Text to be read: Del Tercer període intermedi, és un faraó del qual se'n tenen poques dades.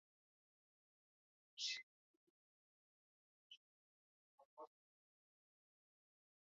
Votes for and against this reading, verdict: 1, 2, rejected